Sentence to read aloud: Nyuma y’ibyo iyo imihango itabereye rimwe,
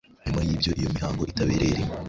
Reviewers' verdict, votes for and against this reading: rejected, 0, 2